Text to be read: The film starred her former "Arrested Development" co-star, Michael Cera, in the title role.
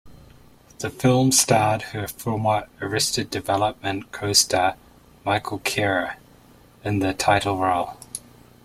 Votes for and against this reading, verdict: 1, 2, rejected